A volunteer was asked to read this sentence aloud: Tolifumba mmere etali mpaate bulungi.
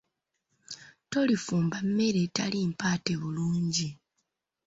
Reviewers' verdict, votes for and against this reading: accepted, 2, 0